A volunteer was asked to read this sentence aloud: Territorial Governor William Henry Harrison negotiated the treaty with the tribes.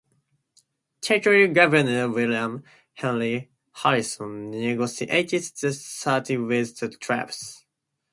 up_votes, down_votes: 0, 2